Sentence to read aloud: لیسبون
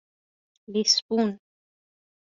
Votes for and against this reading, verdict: 2, 0, accepted